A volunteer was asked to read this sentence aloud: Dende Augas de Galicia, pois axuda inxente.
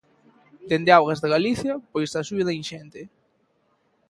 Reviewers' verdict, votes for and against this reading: accepted, 2, 0